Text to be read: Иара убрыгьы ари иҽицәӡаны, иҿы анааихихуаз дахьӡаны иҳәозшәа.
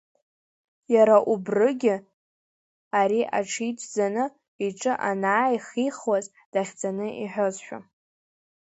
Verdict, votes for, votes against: rejected, 1, 2